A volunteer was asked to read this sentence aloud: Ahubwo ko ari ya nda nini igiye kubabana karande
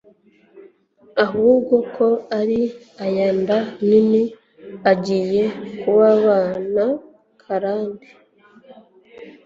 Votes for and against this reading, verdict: 2, 0, accepted